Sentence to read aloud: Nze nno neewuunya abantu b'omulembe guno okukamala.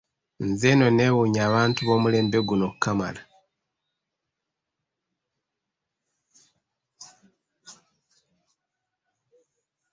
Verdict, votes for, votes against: rejected, 0, 2